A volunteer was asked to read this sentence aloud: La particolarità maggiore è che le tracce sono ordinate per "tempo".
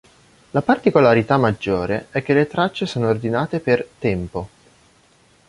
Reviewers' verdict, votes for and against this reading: accepted, 2, 0